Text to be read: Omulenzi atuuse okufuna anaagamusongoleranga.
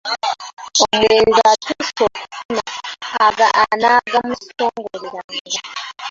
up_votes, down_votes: 0, 2